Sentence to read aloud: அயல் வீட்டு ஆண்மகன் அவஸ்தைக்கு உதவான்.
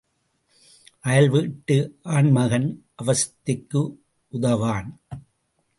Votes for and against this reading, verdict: 3, 0, accepted